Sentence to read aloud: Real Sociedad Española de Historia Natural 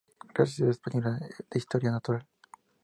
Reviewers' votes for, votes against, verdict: 0, 2, rejected